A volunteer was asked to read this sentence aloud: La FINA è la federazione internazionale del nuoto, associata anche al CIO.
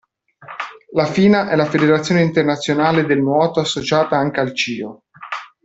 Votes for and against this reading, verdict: 2, 0, accepted